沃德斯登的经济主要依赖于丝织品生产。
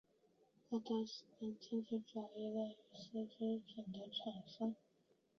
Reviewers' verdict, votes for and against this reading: accepted, 3, 2